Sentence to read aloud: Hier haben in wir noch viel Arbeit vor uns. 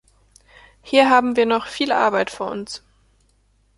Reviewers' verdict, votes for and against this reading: accepted, 2, 0